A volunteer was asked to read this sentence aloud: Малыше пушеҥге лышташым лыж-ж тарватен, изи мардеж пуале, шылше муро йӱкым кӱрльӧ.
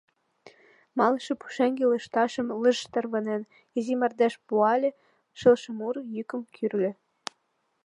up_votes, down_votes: 1, 2